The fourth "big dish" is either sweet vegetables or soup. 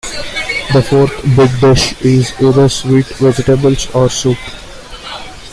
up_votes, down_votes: 2, 0